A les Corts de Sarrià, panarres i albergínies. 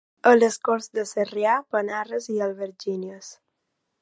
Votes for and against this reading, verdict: 2, 0, accepted